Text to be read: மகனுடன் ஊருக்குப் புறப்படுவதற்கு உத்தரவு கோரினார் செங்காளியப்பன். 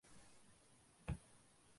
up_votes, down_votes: 0, 2